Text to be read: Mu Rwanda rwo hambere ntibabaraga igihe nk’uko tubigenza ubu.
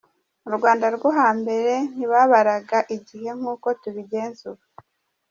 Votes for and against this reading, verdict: 2, 1, accepted